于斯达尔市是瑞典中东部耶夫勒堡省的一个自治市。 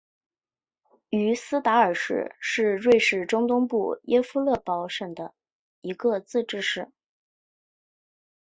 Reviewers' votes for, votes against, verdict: 5, 3, accepted